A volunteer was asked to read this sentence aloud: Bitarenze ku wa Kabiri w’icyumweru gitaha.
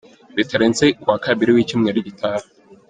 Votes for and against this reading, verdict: 2, 0, accepted